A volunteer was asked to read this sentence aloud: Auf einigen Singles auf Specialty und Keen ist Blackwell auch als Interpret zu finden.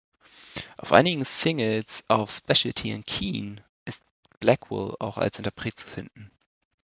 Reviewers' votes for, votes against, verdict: 2, 0, accepted